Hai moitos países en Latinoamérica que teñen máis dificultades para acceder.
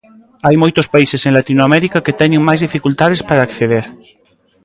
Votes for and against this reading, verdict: 1, 2, rejected